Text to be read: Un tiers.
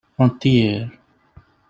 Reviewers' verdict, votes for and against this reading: rejected, 1, 2